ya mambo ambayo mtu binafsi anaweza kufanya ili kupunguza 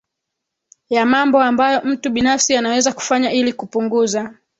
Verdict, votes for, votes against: accepted, 3, 0